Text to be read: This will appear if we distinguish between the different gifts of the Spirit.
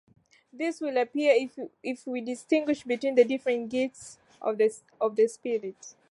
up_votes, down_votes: 1, 2